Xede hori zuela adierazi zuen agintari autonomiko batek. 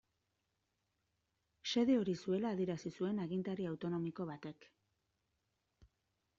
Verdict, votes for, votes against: accepted, 2, 0